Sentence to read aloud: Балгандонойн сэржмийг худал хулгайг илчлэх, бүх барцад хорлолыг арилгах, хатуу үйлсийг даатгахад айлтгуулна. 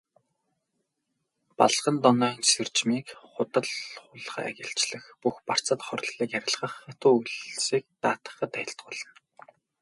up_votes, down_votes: 2, 2